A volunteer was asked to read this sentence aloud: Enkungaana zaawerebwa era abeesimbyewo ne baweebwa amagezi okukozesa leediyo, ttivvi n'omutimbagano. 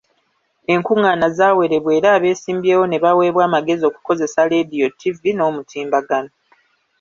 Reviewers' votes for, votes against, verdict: 2, 1, accepted